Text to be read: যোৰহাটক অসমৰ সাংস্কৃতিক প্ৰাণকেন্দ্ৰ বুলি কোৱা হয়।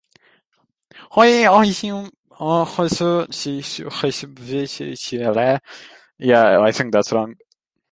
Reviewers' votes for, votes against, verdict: 0, 2, rejected